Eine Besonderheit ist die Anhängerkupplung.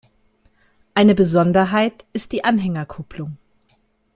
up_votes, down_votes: 2, 0